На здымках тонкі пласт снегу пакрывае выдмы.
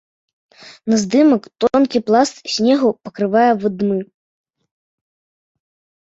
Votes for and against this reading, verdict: 0, 2, rejected